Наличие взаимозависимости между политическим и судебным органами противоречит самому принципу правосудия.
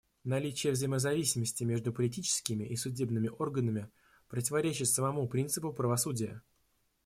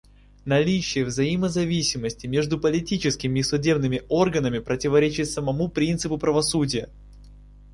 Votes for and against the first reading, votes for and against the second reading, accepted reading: 1, 2, 2, 1, second